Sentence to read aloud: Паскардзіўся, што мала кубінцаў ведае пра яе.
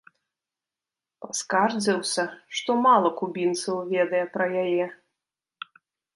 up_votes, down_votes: 0, 2